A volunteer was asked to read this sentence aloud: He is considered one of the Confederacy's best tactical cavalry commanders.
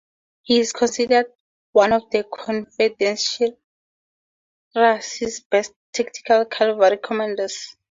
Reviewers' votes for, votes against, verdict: 0, 4, rejected